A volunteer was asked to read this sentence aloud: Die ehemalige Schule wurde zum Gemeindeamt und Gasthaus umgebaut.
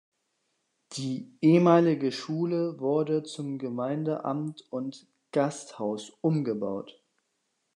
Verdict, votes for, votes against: accepted, 2, 1